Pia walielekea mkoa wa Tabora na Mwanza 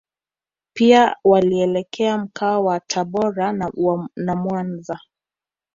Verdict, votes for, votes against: rejected, 0, 2